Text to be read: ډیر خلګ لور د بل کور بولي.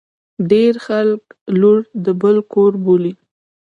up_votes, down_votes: 1, 2